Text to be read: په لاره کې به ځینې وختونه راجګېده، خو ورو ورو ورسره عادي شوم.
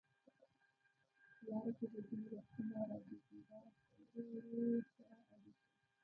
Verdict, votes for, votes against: rejected, 0, 2